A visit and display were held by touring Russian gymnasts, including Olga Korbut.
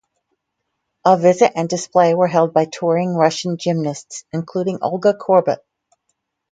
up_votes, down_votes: 2, 0